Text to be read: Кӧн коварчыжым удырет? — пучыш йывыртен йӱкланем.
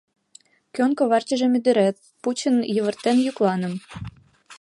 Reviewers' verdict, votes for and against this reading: rejected, 0, 2